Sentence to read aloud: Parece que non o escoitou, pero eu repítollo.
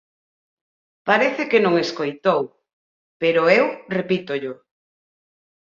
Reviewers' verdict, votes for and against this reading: rejected, 0, 4